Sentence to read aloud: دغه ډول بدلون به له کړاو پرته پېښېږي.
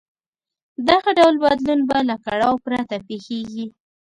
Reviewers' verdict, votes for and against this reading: accepted, 2, 0